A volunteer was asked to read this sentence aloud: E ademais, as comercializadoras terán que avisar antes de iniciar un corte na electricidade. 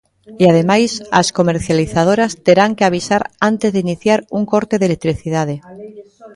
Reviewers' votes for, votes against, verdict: 0, 2, rejected